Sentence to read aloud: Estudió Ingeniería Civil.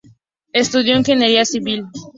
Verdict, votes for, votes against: accepted, 4, 0